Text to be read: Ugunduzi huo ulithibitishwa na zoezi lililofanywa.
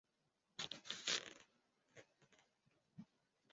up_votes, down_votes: 0, 2